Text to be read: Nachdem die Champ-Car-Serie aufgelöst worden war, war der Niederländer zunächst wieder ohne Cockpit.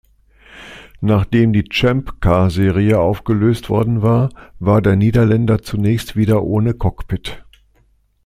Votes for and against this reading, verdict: 2, 0, accepted